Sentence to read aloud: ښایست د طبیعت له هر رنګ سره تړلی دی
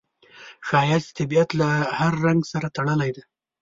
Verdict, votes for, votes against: rejected, 1, 2